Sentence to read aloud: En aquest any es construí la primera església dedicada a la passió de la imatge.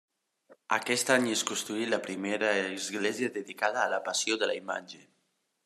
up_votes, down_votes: 1, 2